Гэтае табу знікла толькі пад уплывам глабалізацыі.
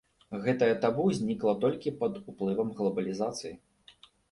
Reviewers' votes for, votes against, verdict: 2, 0, accepted